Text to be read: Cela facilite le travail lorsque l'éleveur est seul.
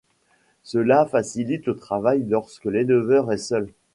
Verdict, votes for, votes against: accepted, 2, 0